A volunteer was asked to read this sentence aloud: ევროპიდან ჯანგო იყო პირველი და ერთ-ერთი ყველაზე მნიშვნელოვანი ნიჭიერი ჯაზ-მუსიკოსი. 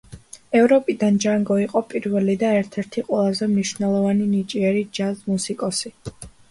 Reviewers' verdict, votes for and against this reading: accepted, 2, 0